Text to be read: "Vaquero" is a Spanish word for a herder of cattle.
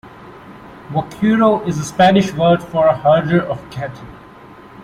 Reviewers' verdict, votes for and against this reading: rejected, 1, 2